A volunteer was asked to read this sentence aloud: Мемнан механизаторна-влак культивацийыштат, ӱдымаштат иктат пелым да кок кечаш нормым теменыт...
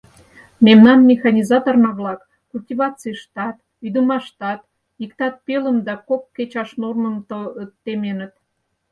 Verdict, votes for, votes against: rejected, 0, 4